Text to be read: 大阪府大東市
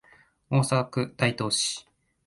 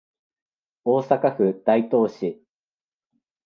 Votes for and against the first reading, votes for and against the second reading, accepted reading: 1, 2, 2, 0, second